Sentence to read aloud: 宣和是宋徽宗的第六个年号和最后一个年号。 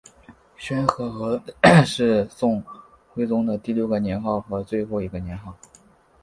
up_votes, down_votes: 1, 2